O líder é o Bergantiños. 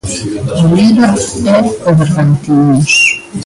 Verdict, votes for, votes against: rejected, 0, 2